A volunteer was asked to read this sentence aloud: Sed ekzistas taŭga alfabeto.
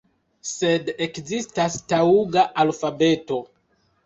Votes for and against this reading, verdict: 0, 2, rejected